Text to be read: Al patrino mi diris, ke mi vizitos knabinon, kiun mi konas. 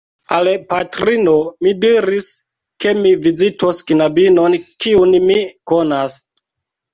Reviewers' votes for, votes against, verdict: 2, 0, accepted